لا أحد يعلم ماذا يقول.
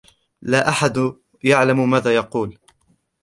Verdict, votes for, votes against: rejected, 1, 2